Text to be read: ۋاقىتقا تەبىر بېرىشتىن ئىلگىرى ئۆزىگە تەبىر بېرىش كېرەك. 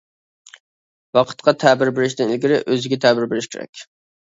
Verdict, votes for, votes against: accepted, 2, 0